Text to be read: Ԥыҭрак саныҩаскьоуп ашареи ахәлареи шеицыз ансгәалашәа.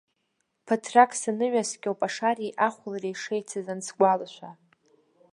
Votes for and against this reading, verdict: 1, 2, rejected